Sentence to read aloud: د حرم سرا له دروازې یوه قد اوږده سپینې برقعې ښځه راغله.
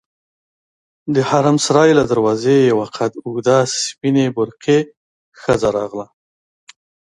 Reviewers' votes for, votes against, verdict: 2, 0, accepted